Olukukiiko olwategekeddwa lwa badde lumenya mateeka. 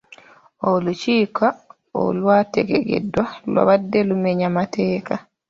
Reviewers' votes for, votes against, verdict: 1, 2, rejected